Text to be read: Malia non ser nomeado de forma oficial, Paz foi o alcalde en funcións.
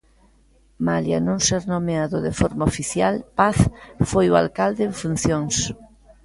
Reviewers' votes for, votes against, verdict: 2, 0, accepted